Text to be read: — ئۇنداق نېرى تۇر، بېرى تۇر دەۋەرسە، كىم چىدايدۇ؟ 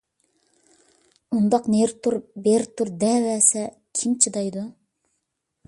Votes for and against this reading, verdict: 2, 0, accepted